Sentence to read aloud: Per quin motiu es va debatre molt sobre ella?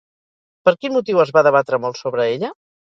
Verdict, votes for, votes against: accepted, 4, 0